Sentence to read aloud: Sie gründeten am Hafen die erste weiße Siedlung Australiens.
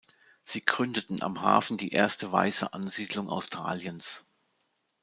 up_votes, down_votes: 0, 2